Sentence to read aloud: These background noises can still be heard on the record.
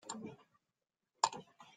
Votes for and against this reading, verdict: 0, 2, rejected